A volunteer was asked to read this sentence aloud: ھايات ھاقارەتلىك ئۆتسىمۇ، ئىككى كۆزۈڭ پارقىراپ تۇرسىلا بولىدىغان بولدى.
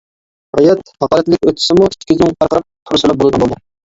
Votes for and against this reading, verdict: 0, 2, rejected